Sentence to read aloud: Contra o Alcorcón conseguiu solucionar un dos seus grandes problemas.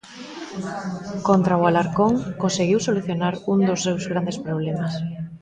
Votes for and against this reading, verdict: 0, 2, rejected